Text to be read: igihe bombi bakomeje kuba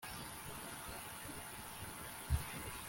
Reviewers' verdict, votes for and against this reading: rejected, 0, 2